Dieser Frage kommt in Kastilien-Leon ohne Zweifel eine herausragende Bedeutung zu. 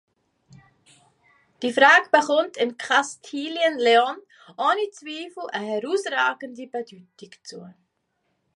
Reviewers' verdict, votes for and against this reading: rejected, 0, 2